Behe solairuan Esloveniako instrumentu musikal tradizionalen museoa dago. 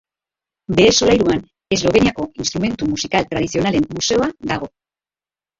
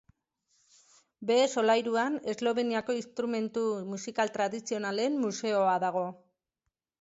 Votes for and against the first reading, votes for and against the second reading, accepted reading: 0, 2, 2, 0, second